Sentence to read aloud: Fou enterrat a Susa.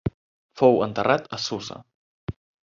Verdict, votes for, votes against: accepted, 3, 1